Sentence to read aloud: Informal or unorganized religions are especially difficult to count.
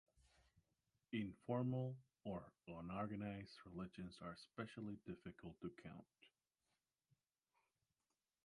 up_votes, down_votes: 0, 2